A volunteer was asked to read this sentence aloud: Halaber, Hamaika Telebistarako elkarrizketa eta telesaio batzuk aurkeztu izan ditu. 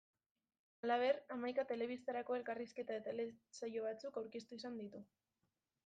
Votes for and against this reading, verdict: 1, 2, rejected